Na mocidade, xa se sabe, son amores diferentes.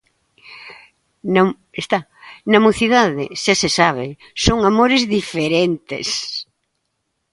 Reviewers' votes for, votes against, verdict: 0, 2, rejected